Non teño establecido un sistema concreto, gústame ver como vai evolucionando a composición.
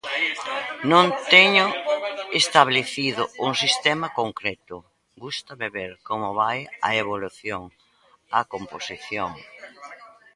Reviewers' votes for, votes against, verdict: 0, 2, rejected